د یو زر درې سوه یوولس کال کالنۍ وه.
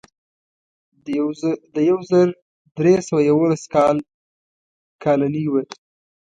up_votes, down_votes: 1, 2